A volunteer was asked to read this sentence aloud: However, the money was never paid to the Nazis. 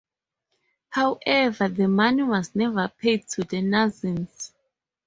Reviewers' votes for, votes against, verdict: 4, 4, rejected